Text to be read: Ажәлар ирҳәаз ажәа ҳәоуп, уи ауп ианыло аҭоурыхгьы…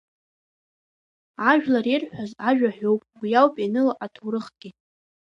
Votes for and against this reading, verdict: 0, 2, rejected